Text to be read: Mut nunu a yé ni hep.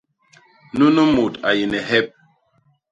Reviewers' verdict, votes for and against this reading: rejected, 1, 2